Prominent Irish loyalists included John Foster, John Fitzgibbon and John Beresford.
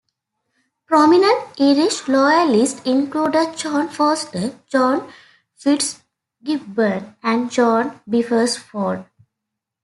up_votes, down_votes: 1, 2